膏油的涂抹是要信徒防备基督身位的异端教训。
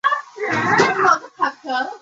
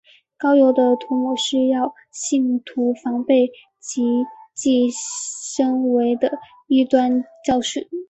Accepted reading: second